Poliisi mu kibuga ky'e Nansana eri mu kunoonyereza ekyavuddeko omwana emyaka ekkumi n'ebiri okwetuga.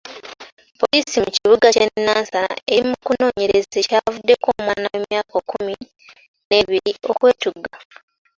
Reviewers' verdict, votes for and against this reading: accepted, 2, 1